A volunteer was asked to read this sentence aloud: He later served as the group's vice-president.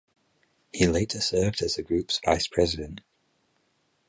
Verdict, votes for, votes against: accepted, 4, 0